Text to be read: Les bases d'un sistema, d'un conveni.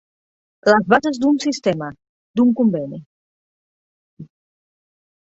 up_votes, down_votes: 4, 0